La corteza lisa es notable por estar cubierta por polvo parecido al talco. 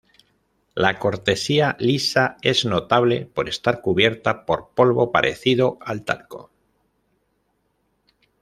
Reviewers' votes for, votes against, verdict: 0, 2, rejected